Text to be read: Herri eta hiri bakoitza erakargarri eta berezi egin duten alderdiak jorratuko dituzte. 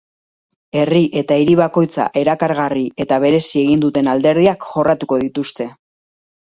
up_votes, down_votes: 2, 0